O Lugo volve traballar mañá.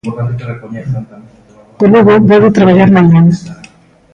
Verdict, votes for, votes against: rejected, 0, 2